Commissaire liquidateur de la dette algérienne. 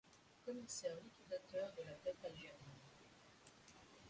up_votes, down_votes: 1, 2